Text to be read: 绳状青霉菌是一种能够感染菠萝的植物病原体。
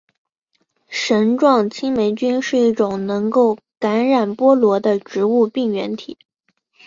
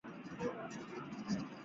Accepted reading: first